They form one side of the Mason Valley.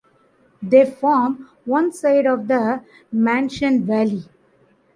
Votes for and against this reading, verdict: 0, 2, rejected